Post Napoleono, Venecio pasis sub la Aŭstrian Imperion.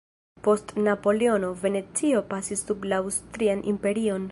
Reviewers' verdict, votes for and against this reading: rejected, 1, 2